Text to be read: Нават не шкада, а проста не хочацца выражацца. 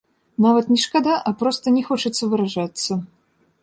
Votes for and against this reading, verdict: 2, 0, accepted